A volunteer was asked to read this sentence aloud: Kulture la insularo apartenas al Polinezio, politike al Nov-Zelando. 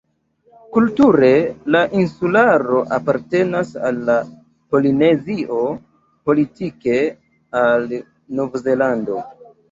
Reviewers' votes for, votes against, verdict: 0, 2, rejected